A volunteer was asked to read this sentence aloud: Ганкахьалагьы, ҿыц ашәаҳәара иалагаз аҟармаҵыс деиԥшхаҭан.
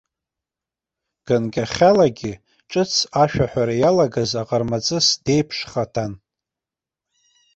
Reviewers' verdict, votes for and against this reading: accepted, 2, 0